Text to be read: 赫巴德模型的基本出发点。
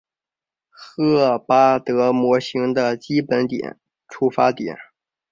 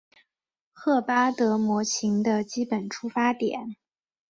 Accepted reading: second